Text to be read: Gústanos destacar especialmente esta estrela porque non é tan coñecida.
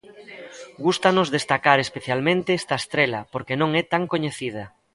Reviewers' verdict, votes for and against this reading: accepted, 2, 0